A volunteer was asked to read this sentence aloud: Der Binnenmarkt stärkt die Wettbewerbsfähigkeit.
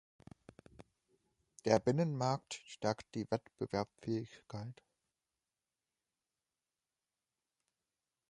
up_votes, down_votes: 0, 2